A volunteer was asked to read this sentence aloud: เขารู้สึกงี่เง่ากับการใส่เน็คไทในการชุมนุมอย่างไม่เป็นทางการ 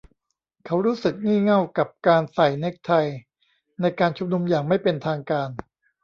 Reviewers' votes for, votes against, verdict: 1, 2, rejected